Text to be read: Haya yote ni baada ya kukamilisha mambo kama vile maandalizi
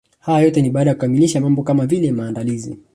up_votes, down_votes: 2, 1